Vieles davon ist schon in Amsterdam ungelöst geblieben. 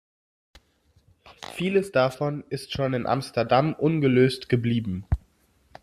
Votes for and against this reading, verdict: 2, 0, accepted